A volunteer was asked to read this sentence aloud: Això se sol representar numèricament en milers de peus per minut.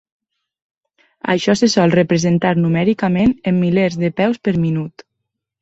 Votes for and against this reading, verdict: 3, 0, accepted